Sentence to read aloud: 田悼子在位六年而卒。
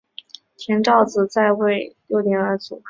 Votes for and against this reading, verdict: 2, 0, accepted